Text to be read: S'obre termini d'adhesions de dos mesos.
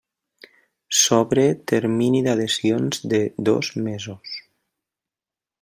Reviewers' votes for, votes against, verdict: 2, 0, accepted